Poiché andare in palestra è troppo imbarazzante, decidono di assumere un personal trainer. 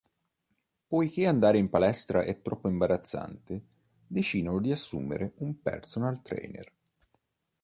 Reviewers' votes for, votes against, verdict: 2, 0, accepted